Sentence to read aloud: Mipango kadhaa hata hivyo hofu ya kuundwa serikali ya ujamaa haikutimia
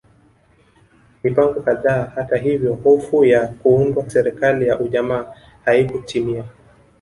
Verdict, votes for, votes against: accepted, 2, 0